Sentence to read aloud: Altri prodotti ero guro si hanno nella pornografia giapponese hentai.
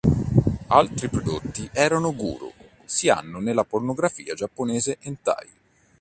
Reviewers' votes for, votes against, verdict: 0, 2, rejected